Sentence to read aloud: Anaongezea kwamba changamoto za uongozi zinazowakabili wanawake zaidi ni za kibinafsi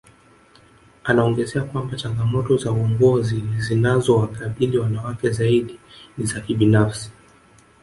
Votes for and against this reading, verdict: 2, 1, accepted